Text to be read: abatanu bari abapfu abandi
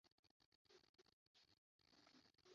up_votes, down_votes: 0, 2